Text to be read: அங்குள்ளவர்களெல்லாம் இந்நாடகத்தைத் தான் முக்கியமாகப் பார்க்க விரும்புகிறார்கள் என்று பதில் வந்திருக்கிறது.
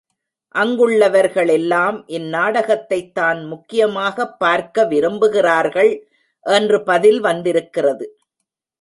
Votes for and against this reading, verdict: 2, 0, accepted